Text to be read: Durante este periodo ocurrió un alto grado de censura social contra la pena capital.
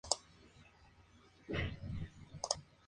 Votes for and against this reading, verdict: 0, 2, rejected